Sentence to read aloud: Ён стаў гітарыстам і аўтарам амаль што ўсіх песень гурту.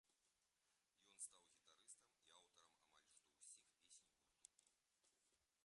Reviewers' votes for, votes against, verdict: 1, 2, rejected